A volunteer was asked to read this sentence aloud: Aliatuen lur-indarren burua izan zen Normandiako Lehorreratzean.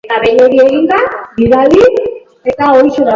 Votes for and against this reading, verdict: 0, 2, rejected